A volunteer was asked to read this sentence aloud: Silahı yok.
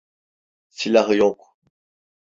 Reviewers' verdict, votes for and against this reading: accepted, 2, 0